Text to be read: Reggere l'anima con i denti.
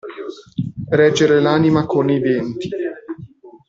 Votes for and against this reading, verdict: 2, 0, accepted